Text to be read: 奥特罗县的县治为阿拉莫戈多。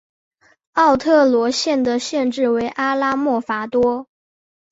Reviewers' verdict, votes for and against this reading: accepted, 3, 0